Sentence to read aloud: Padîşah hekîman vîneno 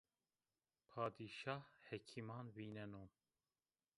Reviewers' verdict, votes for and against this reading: rejected, 0, 2